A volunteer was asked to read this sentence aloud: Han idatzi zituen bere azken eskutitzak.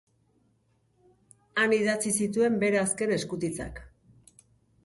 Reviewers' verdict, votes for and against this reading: accepted, 2, 0